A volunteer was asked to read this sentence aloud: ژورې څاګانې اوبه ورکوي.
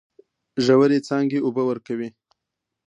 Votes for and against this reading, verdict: 2, 0, accepted